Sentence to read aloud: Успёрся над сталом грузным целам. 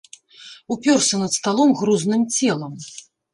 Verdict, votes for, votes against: rejected, 1, 2